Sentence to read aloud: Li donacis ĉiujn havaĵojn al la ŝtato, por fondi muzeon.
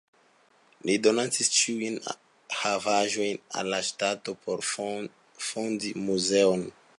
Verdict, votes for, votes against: accepted, 2, 0